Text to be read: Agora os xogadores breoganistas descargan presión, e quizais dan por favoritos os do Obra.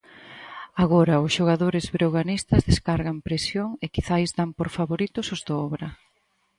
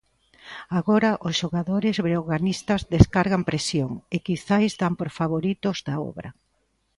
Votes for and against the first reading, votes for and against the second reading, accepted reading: 4, 0, 1, 2, first